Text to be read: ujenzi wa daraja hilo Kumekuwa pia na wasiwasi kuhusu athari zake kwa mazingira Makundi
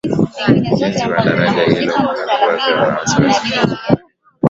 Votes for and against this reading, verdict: 0, 5, rejected